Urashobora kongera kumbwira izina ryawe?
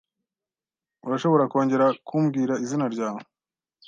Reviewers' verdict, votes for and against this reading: accepted, 2, 0